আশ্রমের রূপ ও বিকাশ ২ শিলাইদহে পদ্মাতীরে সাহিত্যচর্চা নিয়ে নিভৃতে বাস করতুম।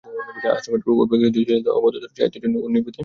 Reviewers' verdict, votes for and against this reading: rejected, 0, 2